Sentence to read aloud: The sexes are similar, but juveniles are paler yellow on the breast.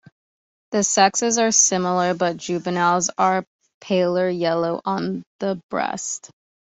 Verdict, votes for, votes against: accepted, 2, 0